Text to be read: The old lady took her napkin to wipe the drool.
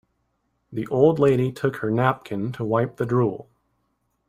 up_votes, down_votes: 2, 0